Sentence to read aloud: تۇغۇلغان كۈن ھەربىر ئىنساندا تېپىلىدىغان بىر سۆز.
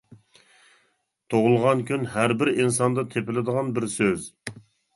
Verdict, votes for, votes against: accepted, 2, 0